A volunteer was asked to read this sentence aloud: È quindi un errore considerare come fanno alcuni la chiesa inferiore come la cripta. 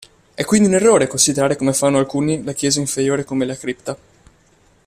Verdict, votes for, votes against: accepted, 2, 0